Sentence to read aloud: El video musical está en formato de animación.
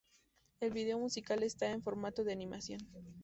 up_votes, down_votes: 0, 2